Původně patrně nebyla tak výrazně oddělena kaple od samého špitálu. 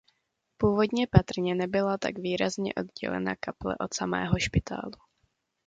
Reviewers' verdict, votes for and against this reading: accepted, 2, 0